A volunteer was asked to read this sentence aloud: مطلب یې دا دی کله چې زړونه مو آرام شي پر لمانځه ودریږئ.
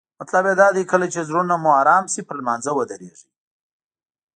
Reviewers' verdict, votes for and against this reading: accepted, 2, 0